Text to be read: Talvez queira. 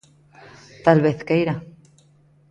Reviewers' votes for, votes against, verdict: 2, 0, accepted